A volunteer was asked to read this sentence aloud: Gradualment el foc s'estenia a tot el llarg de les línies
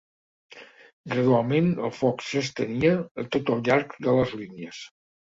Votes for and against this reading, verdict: 3, 0, accepted